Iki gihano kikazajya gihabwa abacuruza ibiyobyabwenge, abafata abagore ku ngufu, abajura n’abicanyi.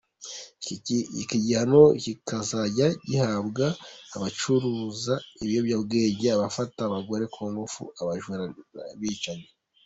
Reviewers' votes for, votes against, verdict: 2, 1, accepted